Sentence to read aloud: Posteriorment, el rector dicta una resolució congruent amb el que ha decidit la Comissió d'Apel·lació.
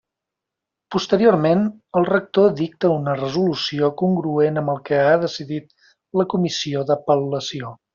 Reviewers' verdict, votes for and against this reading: accepted, 2, 0